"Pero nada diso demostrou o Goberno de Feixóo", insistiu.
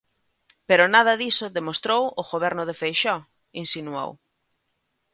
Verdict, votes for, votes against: rejected, 0, 2